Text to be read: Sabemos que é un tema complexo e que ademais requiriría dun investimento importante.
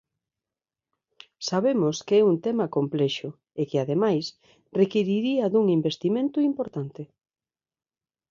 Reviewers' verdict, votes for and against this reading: accepted, 2, 0